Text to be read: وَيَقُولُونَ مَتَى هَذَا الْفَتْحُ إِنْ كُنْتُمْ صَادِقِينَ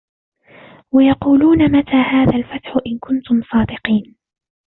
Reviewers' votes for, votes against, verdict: 1, 2, rejected